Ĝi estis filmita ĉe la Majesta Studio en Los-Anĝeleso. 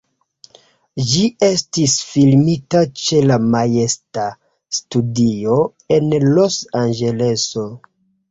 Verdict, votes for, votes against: accepted, 2, 0